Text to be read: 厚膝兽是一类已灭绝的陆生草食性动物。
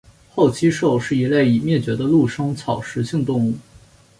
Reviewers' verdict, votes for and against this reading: accepted, 4, 0